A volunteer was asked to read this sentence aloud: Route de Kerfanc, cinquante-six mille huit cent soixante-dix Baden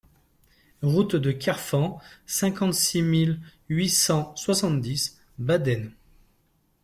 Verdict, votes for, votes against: accepted, 2, 0